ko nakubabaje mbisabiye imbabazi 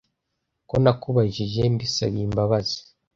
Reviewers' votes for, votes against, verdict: 1, 2, rejected